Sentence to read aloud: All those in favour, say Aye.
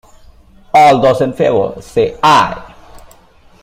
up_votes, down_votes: 2, 1